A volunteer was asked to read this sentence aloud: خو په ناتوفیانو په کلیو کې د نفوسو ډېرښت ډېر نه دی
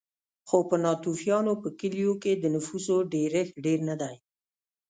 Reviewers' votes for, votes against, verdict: 2, 0, accepted